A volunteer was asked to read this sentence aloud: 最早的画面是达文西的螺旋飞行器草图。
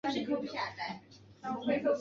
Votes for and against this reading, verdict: 0, 2, rejected